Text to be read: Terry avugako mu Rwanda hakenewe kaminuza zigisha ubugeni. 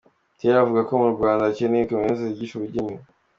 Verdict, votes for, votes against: accepted, 2, 0